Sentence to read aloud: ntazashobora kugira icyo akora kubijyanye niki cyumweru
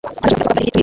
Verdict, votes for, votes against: rejected, 1, 2